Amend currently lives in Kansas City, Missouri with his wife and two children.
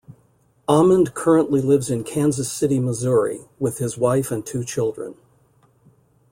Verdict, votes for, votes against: accepted, 2, 0